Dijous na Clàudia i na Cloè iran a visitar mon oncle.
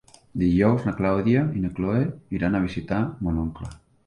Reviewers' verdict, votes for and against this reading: accepted, 2, 1